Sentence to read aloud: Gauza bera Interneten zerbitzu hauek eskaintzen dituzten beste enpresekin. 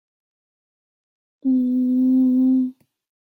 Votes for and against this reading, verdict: 0, 2, rejected